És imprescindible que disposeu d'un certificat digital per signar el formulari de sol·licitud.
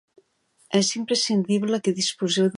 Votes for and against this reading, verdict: 0, 2, rejected